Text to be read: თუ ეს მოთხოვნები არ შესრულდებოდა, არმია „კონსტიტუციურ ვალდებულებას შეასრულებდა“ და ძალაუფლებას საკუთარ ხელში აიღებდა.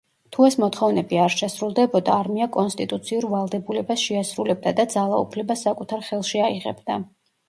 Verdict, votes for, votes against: accepted, 2, 0